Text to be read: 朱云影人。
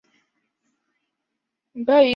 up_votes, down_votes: 4, 7